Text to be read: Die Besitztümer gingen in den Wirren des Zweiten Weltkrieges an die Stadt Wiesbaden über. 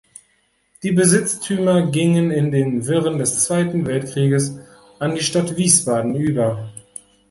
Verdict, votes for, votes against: accepted, 2, 0